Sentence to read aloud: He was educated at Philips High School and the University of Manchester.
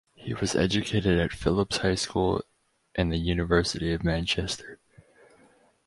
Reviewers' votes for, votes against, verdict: 4, 0, accepted